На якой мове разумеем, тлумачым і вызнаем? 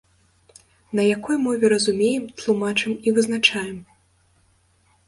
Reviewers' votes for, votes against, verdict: 0, 2, rejected